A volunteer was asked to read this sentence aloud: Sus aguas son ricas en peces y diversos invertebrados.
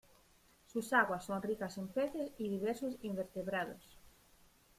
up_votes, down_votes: 0, 2